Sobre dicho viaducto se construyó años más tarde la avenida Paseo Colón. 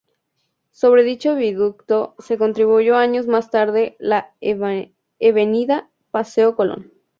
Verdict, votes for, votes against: rejected, 0, 2